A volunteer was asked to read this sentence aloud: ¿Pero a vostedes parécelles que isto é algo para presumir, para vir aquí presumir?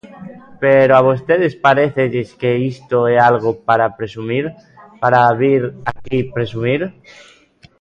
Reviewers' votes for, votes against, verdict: 1, 2, rejected